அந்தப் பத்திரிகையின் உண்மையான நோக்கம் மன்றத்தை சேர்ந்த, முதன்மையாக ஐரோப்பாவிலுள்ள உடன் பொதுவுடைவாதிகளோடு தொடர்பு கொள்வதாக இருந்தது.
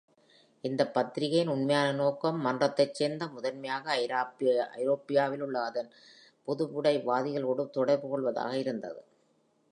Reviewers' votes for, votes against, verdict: 0, 2, rejected